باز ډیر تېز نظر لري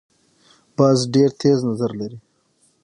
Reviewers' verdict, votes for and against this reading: accepted, 6, 0